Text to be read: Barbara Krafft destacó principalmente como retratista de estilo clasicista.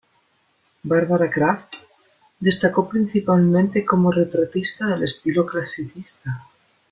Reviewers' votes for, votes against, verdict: 2, 0, accepted